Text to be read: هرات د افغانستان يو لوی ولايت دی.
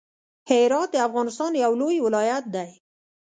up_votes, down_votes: 2, 0